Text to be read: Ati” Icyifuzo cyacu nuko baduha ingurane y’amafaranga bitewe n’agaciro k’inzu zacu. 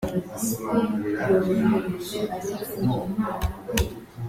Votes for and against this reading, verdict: 0, 2, rejected